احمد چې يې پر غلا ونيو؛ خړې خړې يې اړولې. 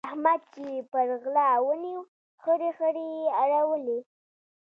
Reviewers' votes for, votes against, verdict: 2, 0, accepted